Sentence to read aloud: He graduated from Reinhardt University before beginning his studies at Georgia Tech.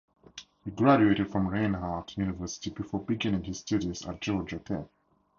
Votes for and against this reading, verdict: 2, 2, rejected